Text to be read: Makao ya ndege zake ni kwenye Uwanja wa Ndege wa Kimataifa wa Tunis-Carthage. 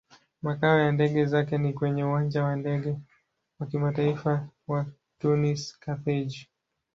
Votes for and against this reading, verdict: 2, 0, accepted